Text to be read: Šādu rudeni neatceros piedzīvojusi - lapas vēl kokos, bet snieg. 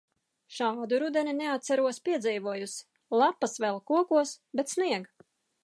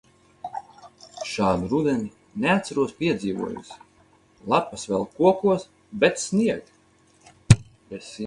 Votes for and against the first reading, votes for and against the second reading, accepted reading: 3, 1, 2, 4, first